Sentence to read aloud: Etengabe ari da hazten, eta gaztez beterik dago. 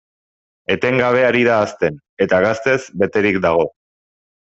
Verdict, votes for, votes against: accepted, 2, 0